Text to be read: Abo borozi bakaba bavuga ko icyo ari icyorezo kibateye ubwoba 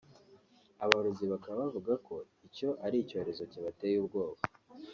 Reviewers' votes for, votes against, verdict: 1, 2, rejected